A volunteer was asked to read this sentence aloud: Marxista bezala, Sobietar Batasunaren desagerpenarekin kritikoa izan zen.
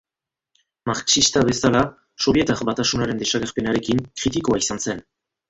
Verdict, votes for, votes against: accepted, 2, 1